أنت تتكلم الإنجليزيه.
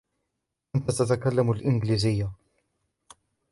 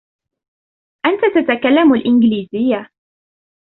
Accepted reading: second